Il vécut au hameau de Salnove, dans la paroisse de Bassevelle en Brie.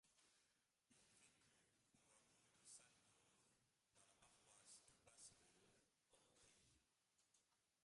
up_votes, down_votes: 0, 2